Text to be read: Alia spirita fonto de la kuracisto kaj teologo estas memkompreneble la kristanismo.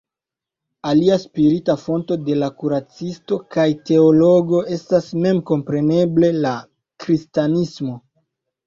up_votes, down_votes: 2, 1